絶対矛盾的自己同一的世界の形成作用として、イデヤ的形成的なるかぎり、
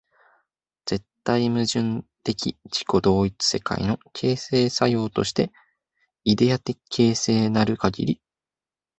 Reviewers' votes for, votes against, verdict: 0, 2, rejected